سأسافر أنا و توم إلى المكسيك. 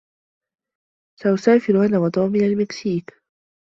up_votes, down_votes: 2, 0